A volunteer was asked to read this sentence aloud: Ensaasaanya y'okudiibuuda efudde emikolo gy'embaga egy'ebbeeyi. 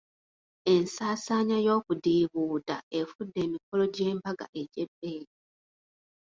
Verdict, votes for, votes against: accepted, 2, 1